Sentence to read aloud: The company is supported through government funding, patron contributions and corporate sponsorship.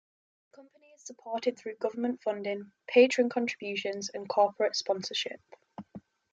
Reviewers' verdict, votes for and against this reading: rejected, 5, 6